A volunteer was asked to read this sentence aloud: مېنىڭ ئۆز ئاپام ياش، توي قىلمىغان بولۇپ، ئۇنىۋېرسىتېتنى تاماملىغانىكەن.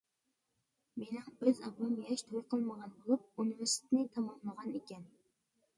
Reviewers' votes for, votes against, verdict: 0, 2, rejected